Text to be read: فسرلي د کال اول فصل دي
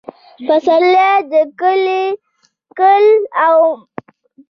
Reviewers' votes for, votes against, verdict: 0, 2, rejected